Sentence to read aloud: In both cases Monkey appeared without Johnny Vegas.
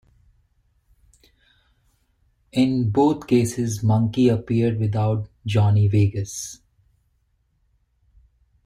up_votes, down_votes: 1, 2